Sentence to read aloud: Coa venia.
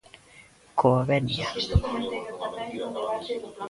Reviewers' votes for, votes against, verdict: 0, 2, rejected